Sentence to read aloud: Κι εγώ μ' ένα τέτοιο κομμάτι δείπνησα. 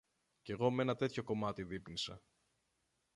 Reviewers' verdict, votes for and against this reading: rejected, 1, 2